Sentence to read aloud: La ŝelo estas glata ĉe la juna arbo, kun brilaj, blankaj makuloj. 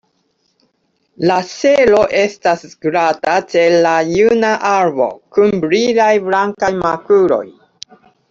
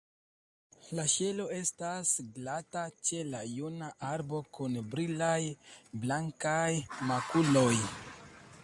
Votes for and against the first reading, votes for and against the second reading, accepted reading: 0, 2, 2, 1, second